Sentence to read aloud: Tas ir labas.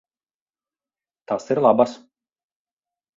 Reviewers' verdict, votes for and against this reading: accepted, 4, 0